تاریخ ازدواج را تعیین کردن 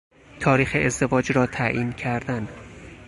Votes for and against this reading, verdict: 4, 0, accepted